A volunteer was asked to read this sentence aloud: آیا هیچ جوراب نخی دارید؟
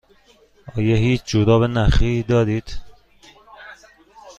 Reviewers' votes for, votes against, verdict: 2, 0, accepted